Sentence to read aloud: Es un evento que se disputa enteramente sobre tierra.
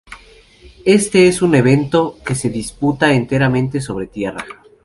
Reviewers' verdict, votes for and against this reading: rejected, 0, 2